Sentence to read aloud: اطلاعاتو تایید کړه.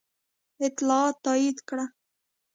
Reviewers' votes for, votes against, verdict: 2, 0, accepted